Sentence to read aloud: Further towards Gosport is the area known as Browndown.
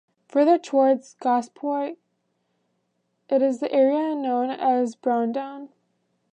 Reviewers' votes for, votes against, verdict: 0, 2, rejected